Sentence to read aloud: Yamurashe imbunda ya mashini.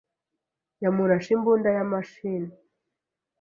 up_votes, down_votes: 2, 0